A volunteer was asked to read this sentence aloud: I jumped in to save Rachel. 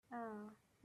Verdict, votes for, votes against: rejected, 0, 2